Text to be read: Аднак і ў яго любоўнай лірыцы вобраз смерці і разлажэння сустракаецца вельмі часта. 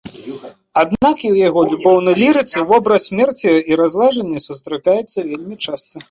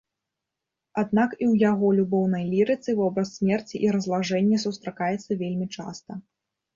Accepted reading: second